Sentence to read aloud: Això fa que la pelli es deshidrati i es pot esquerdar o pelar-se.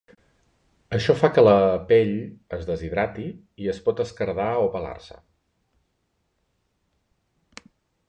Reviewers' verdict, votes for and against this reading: rejected, 1, 2